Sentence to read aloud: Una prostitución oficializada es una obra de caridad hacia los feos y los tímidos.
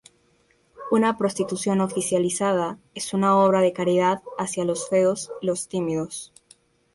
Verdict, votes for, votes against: rejected, 0, 2